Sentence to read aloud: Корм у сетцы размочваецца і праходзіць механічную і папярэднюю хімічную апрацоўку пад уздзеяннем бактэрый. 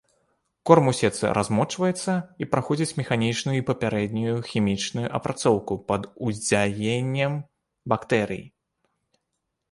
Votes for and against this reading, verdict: 1, 2, rejected